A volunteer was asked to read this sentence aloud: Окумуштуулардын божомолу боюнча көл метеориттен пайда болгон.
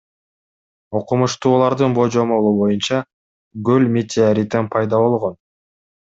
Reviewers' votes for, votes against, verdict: 1, 2, rejected